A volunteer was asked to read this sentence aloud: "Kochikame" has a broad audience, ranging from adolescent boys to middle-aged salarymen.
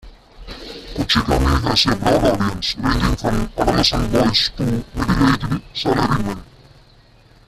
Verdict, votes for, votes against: rejected, 1, 2